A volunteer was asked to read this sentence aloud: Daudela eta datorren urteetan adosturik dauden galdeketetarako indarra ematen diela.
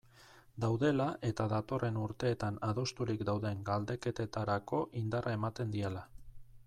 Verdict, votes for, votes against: accepted, 2, 0